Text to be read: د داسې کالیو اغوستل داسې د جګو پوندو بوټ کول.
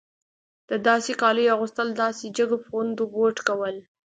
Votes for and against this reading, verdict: 2, 0, accepted